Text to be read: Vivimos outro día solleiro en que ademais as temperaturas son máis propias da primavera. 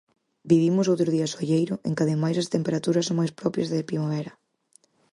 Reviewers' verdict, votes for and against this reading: rejected, 2, 2